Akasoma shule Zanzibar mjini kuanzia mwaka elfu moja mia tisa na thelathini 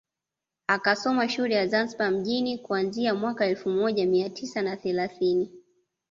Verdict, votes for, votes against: rejected, 1, 2